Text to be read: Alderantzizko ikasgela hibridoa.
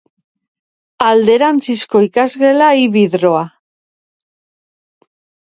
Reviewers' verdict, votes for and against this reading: rejected, 0, 2